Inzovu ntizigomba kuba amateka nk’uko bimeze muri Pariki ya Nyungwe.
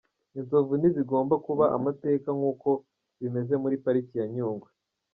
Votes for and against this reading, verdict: 2, 0, accepted